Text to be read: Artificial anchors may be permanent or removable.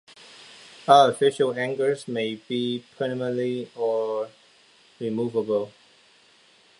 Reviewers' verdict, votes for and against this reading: accepted, 2, 0